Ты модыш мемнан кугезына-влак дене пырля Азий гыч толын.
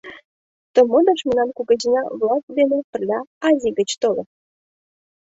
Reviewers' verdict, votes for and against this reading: accepted, 2, 0